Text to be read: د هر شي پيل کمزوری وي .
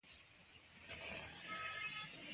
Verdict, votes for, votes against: rejected, 1, 2